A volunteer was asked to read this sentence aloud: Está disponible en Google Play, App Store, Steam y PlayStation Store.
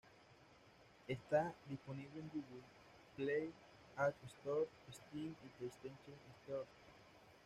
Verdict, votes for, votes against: rejected, 0, 2